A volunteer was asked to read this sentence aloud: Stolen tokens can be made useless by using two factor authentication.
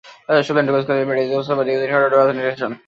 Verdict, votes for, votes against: rejected, 0, 2